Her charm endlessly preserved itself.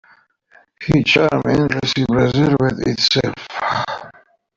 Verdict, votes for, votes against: rejected, 1, 2